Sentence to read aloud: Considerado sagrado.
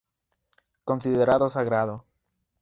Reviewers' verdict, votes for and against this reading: accepted, 2, 0